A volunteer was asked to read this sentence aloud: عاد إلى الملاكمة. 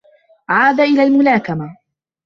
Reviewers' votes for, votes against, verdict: 2, 1, accepted